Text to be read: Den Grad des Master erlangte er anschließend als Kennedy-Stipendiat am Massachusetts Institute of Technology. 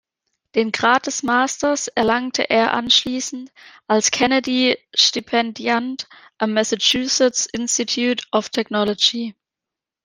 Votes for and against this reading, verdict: 0, 2, rejected